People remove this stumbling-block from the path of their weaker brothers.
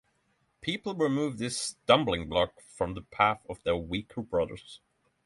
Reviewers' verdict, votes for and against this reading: accepted, 6, 0